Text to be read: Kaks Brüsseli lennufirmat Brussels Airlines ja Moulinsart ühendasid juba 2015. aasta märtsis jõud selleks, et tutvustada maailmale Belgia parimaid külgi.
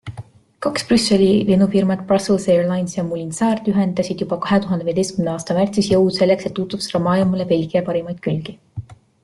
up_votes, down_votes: 0, 2